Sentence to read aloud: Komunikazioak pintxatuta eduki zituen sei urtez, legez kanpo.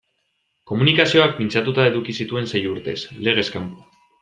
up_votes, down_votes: 2, 0